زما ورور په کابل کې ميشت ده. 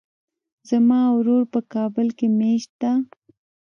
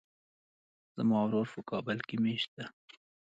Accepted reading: second